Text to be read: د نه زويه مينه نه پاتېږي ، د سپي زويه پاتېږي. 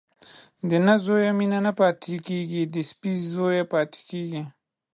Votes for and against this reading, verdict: 0, 2, rejected